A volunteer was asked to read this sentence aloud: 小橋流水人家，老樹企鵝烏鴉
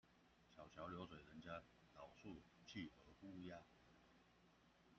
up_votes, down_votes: 1, 2